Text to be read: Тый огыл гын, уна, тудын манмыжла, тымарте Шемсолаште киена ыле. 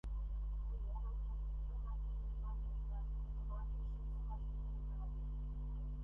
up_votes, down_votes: 0, 2